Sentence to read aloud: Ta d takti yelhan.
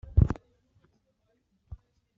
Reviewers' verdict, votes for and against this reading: rejected, 1, 2